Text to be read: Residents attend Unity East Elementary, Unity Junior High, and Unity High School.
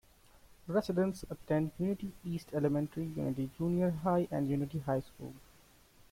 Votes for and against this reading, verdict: 1, 2, rejected